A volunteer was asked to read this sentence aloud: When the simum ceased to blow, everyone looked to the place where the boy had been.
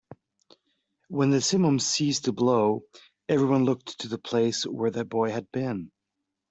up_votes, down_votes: 3, 0